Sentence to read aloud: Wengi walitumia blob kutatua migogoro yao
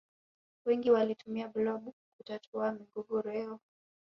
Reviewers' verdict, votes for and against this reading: rejected, 1, 2